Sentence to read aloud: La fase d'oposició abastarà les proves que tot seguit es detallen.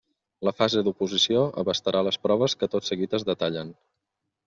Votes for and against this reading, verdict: 3, 0, accepted